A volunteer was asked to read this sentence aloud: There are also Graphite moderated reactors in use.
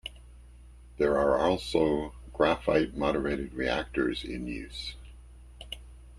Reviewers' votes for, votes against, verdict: 2, 0, accepted